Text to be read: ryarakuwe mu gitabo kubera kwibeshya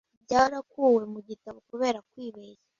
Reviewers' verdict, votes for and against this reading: accepted, 2, 0